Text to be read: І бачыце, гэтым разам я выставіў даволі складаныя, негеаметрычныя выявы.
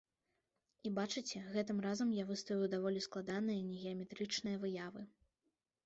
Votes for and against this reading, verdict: 2, 0, accepted